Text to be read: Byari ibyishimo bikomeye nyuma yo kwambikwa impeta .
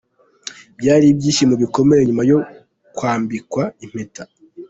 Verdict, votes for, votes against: accepted, 2, 0